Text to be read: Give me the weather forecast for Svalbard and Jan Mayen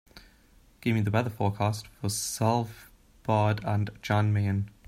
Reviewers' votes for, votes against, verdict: 0, 2, rejected